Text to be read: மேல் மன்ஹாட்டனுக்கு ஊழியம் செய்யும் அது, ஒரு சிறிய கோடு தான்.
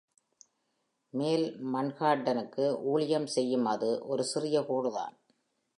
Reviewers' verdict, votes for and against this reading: accepted, 2, 0